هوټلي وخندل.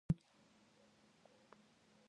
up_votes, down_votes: 1, 2